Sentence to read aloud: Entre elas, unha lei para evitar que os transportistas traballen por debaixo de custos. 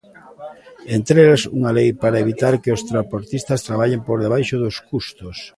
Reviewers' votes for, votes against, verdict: 0, 2, rejected